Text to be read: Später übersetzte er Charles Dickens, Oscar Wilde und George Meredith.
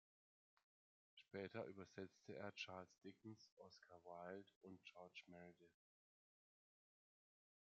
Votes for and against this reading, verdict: 2, 1, accepted